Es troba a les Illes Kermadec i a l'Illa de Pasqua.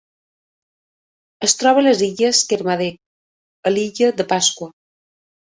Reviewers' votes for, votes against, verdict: 1, 2, rejected